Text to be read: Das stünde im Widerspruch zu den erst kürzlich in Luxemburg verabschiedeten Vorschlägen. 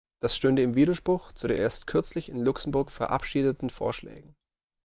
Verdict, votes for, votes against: rejected, 1, 2